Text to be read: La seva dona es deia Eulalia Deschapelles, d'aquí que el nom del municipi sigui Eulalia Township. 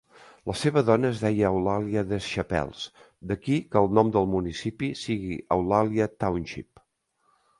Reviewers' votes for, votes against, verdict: 3, 0, accepted